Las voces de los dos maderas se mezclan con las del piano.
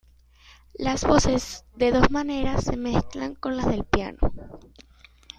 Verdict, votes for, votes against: rejected, 0, 2